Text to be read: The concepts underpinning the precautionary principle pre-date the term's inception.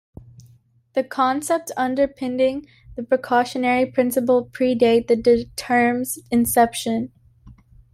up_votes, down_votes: 1, 2